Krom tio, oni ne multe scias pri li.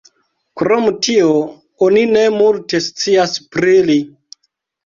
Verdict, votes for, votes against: rejected, 0, 2